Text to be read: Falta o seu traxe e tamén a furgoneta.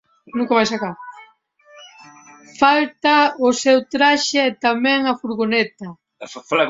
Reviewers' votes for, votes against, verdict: 0, 3, rejected